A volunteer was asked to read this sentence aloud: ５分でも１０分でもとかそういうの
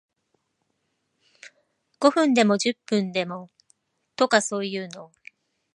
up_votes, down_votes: 0, 2